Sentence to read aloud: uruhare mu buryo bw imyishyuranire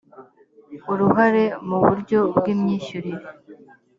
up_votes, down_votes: 3, 0